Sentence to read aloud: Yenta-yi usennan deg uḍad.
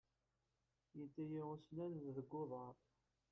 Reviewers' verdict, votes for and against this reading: rejected, 0, 2